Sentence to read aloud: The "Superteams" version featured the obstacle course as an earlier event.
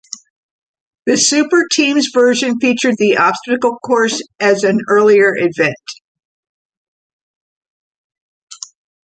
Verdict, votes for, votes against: accepted, 2, 0